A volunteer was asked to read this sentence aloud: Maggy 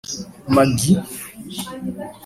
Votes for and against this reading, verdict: 2, 0, accepted